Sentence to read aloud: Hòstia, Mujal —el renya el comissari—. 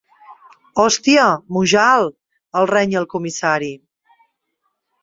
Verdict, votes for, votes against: accepted, 2, 1